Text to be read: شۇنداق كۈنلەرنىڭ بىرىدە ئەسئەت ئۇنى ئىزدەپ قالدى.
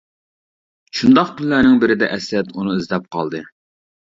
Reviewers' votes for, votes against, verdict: 2, 0, accepted